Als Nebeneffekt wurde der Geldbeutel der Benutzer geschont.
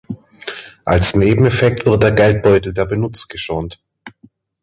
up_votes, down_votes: 0, 2